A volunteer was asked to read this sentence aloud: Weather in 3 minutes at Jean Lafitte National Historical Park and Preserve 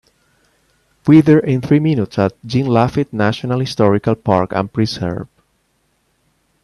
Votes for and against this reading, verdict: 0, 2, rejected